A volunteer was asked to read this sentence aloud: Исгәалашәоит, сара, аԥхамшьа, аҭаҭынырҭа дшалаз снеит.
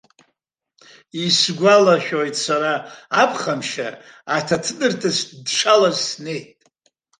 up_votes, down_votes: 1, 2